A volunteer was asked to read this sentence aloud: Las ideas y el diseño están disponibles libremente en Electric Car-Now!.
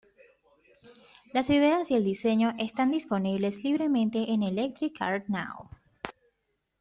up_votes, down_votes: 2, 0